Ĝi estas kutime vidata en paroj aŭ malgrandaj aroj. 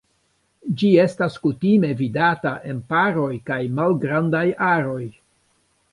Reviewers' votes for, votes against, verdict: 0, 2, rejected